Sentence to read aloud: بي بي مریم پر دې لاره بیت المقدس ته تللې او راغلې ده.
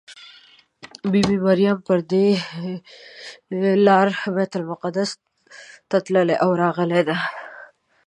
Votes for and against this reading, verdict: 2, 1, accepted